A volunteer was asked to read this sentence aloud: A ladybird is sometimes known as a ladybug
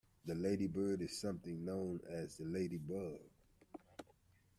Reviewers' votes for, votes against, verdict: 1, 2, rejected